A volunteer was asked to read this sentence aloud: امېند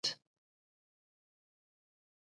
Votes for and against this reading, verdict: 0, 2, rejected